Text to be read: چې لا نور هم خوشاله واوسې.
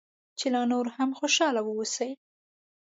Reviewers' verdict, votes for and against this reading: accepted, 2, 0